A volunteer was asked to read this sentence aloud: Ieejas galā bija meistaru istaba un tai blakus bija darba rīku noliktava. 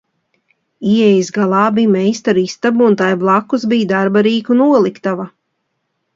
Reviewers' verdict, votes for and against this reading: accepted, 2, 0